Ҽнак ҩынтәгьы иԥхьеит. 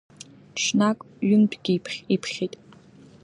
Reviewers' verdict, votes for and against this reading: rejected, 0, 2